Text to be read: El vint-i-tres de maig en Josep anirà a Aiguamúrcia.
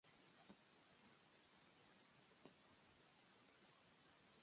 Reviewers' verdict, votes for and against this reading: rejected, 1, 2